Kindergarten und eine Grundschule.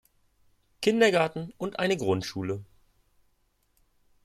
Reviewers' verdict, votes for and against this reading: accepted, 2, 0